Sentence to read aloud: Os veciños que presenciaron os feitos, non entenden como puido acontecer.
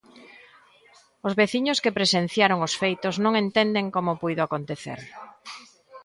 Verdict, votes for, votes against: accepted, 2, 0